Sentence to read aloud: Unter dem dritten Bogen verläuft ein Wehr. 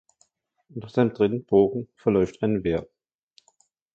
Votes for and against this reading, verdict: 0, 2, rejected